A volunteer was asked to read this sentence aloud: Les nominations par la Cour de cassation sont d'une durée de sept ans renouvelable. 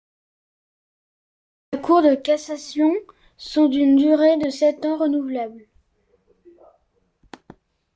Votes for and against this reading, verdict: 1, 2, rejected